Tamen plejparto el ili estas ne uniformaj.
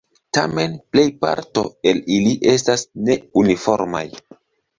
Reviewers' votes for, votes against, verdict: 2, 0, accepted